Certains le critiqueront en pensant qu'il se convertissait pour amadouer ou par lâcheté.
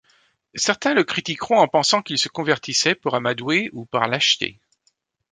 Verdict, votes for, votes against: accepted, 2, 0